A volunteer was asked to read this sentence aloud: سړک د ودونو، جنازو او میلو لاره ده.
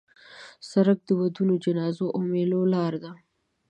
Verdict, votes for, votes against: accepted, 3, 0